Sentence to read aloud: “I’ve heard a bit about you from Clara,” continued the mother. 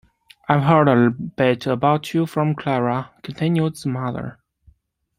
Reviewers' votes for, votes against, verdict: 1, 2, rejected